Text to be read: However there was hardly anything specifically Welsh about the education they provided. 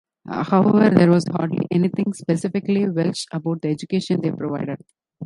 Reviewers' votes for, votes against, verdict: 0, 2, rejected